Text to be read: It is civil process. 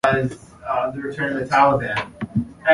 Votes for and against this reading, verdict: 0, 2, rejected